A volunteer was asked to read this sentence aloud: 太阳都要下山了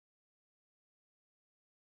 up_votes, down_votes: 0, 3